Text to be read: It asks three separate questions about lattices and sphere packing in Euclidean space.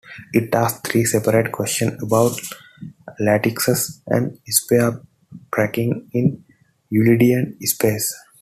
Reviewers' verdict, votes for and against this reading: rejected, 1, 2